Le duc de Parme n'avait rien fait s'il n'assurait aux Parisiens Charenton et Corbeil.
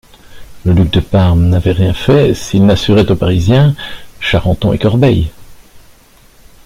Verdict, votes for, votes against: accepted, 2, 0